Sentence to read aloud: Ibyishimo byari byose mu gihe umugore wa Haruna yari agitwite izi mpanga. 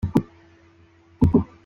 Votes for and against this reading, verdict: 0, 2, rejected